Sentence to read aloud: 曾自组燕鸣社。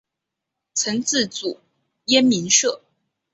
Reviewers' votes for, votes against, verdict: 1, 2, rejected